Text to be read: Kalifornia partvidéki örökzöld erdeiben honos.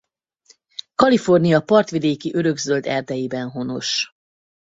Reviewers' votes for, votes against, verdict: 4, 0, accepted